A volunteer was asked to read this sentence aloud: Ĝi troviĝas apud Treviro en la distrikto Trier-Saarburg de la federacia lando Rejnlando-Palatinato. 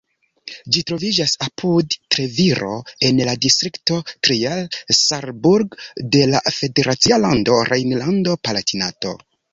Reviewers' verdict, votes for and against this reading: accepted, 2, 1